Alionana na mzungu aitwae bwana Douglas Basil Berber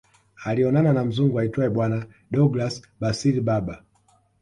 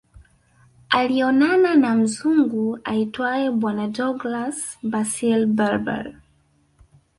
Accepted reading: first